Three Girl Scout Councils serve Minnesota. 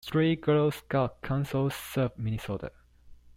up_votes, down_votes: 0, 2